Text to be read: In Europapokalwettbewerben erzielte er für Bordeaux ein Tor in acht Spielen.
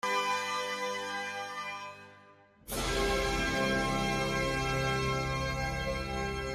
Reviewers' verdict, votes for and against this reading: rejected, 0, 2